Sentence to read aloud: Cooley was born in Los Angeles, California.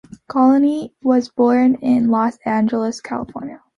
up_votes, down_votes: 2, 0